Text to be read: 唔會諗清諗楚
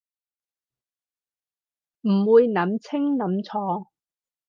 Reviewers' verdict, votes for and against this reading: accepted, 4, 0